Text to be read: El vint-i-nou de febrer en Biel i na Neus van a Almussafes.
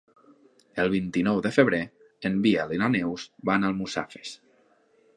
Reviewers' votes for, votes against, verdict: 1, 2, rejected